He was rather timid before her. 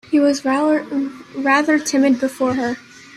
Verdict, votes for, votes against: rejected, 0, 2